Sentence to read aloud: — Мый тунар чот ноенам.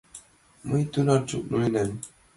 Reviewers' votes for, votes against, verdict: 2, 0, accepted